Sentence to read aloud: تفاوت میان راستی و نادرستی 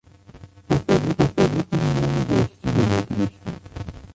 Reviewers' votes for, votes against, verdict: 1, 2, rejected